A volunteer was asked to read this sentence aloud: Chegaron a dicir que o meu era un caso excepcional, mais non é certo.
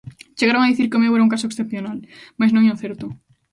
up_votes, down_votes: 1, 3